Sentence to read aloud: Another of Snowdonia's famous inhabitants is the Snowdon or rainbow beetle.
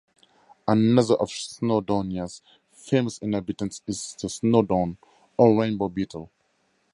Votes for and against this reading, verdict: 4, 0, accepted